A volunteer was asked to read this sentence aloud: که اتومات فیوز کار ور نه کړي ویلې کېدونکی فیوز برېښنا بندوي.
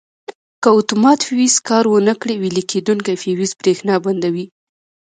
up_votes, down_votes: 2, 0